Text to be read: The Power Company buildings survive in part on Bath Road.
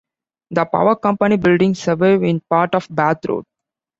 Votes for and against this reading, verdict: 2, 0, accepted